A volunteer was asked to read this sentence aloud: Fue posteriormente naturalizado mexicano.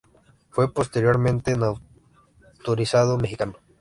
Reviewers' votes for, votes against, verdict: 1, 2, rejected